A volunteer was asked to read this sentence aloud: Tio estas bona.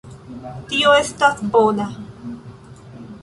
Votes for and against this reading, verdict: 2, 0, accepted